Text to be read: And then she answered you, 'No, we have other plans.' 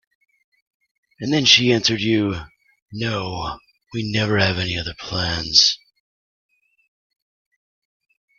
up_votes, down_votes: 0, 2